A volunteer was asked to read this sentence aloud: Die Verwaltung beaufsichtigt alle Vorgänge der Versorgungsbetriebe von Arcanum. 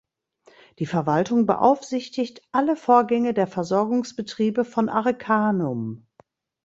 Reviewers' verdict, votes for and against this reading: rejected, 1, 2